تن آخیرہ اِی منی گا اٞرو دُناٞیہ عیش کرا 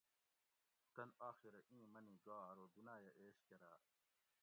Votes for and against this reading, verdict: 1, 2, rejected